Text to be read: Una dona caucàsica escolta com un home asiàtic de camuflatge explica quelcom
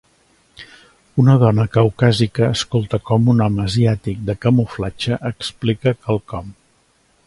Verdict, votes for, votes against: accepted, 3, 0